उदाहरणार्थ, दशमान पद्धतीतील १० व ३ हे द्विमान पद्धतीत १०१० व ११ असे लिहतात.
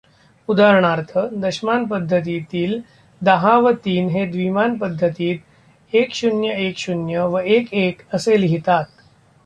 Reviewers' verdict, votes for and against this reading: rejected, 0, 2